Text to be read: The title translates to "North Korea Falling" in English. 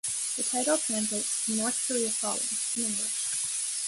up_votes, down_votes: 1, 2